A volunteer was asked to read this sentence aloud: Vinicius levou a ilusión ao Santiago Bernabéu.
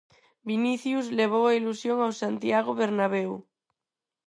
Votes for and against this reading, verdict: 4, 0, accepted